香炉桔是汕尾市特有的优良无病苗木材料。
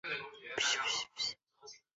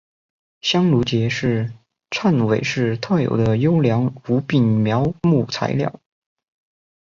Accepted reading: second